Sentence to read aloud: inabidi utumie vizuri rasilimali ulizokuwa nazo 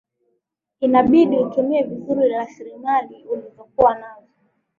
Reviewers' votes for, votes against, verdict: 11, 0, accepted